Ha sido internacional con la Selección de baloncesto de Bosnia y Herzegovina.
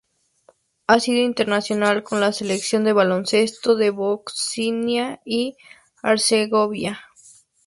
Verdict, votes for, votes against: rejected, 0, 2